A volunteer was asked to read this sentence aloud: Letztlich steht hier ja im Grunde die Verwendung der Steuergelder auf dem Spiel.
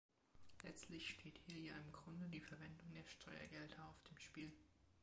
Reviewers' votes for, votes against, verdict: 2, 0, accepted